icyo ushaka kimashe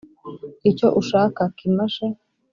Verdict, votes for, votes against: accepted, 2, 0